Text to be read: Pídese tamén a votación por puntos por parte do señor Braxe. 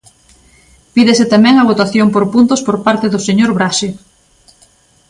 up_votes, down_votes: 2, 0